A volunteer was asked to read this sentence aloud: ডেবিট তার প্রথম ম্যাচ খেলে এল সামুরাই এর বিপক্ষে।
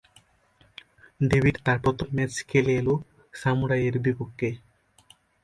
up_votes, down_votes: 1, 2